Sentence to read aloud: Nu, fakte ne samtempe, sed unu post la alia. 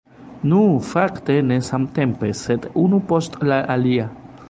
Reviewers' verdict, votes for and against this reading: rejected, 1, 2